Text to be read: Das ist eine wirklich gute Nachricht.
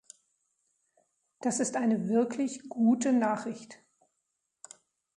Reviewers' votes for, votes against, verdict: 2, 0, accepted